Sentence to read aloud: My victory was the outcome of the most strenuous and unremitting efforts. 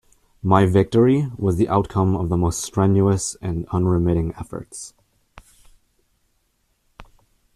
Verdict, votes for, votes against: accepted, 2, 0